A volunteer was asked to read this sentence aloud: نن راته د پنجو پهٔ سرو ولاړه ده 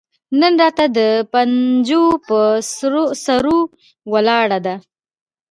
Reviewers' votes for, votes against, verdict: 0, 2, rejected